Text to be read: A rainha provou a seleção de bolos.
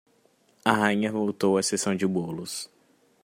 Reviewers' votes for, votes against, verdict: 0, 2, rejected